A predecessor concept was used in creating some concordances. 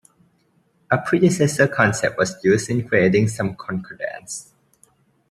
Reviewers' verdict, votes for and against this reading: rejected, 0, 2